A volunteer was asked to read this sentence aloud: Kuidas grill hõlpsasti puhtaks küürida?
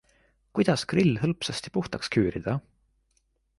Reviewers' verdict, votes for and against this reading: accepted, 2, 0